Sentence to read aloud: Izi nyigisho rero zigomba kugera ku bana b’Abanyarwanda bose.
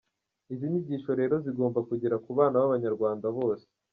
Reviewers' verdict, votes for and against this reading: rejected, 0, 2